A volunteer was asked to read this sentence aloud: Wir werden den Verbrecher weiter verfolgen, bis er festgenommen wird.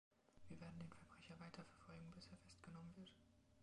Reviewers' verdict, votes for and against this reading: accepted, 2, 0